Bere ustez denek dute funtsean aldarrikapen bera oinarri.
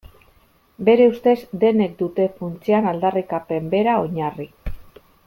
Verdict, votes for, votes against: accepted, 2, 0